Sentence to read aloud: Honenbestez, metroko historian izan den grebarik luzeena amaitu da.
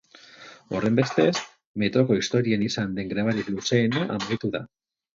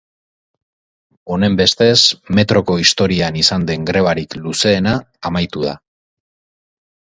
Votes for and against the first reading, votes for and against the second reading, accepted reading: 0, 4, 4, 0, second